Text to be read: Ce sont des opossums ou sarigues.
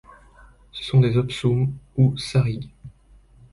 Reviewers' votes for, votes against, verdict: 0, 2, rejected